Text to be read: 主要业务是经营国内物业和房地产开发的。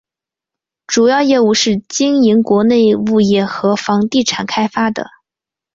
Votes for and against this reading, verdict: 3, 0, accepted